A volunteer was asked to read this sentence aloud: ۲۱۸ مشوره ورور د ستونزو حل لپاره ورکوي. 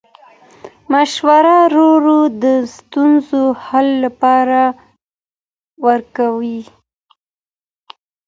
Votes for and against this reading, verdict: 0, 2, rejected